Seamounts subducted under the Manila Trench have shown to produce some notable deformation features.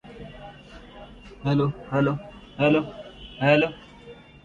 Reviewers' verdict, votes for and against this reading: rejected, 0, 2